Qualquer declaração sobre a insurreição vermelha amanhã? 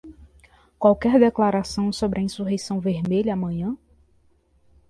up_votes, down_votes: 2, 0